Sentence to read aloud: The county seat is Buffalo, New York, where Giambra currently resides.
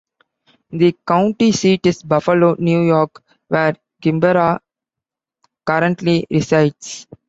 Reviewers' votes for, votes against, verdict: 1, 2, rejected